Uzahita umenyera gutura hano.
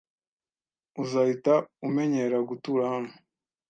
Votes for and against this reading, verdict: 2, 0, accepted